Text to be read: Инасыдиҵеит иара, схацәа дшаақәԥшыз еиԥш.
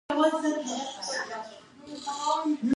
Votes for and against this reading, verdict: 0, 2, rejected